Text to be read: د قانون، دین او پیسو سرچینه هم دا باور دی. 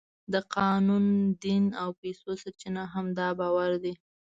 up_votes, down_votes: 2, 0